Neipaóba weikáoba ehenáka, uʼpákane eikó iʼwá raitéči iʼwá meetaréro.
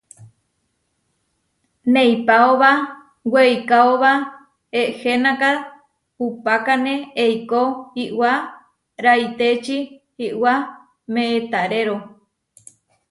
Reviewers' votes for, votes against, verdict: 2, 0, accepted